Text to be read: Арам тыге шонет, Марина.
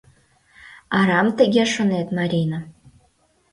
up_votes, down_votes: 2, 0